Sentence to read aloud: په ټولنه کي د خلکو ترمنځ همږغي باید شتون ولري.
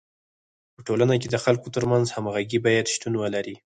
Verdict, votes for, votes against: rejected, 2, 4